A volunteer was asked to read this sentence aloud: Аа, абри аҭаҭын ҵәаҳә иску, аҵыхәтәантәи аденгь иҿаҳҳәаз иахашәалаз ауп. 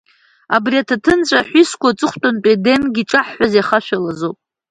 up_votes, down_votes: 1, 2